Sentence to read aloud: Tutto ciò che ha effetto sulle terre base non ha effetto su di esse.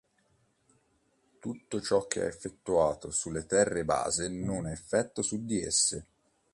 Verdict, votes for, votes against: rejected, 0, 3